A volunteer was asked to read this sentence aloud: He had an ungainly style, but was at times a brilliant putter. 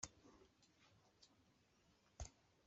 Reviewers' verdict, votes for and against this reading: rejected, 0, 2